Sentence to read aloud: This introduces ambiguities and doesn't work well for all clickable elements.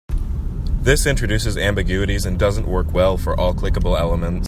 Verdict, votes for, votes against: accepted, 2, 0